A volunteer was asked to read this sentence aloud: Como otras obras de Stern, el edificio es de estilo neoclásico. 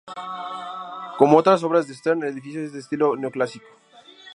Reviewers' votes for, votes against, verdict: 2, 0, accepted